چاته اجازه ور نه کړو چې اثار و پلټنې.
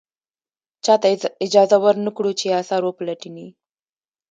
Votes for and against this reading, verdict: 1, 2, rejected